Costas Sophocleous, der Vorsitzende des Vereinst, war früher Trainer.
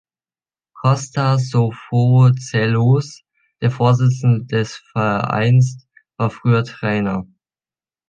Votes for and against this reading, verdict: 0, 2, rejected